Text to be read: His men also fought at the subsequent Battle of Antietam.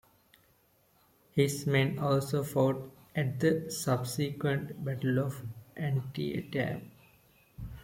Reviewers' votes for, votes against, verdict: 2, 0, accepted